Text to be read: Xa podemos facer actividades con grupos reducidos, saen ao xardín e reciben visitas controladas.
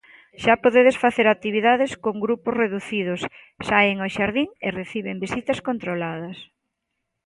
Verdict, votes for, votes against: rejected, 0, 3